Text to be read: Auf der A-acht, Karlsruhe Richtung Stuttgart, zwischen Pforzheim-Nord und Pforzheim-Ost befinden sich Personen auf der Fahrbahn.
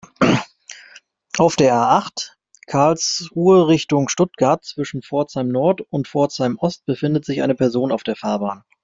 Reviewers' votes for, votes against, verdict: 0, 2, rejected